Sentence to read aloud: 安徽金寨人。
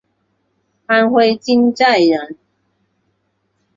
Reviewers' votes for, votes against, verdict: 3, 0, accepted